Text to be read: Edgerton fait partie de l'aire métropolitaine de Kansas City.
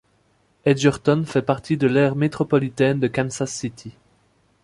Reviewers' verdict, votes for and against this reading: accepted, 2, 0